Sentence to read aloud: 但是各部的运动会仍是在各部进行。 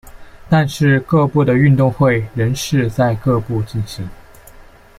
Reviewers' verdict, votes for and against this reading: accepted, 2, 1